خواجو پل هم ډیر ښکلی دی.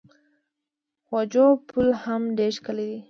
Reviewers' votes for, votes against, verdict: 2, 0, accepted